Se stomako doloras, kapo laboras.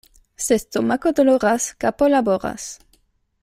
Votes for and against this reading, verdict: 0, 2, rejected